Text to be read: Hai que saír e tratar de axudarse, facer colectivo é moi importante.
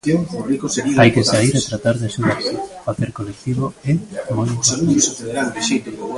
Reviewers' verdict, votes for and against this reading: rejected, 0, 2